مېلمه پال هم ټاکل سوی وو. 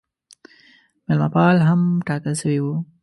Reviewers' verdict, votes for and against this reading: accepted, 2, 0